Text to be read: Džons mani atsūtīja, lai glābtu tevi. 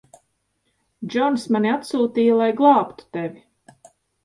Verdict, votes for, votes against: rejected, 1, 2